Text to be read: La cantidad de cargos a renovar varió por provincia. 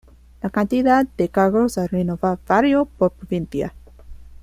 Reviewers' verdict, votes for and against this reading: rejected, 1, 2